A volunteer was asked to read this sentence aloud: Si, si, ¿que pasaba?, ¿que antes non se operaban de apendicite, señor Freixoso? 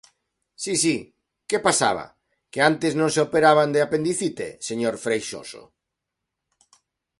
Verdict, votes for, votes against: accepted, 2, 0